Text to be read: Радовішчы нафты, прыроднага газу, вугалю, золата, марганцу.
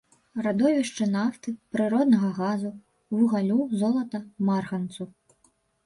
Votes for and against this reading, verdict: 0, 2, rejected